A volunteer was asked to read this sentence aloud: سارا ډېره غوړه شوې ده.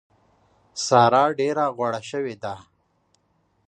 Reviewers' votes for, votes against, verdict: 2, 0, accepted